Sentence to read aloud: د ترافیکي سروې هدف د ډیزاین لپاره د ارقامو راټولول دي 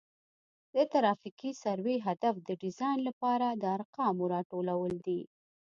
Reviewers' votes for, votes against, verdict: 2, 0, accepted